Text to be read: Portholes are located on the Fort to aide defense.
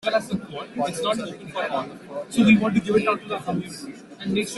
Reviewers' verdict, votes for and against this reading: rejected, 0, 2